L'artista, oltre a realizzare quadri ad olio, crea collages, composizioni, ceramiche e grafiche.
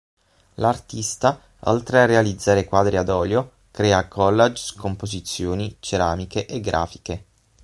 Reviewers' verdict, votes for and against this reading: rejected, 3, 6